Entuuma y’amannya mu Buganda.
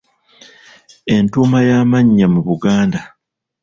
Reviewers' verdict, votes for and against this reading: accepted, 2, 0